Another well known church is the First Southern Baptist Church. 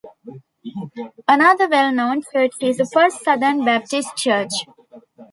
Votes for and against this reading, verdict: 0, 2, rejected